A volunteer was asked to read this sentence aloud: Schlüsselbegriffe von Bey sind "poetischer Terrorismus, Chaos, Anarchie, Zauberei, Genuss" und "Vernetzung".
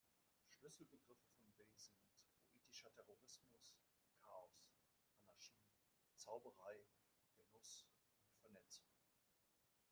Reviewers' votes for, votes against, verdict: 0, 2, rejected